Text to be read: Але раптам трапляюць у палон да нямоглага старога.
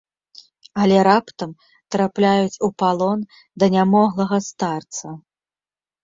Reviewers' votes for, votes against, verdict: 1, 2, rejected